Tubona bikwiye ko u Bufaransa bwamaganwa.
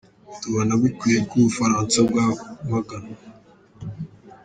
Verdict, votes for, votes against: rejected, 1, 2